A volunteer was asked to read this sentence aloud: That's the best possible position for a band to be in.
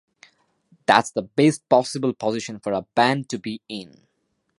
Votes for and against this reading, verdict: 2, 0, accepted